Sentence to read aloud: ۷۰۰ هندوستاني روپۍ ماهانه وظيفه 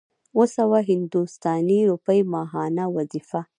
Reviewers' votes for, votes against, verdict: 0, 2, rejected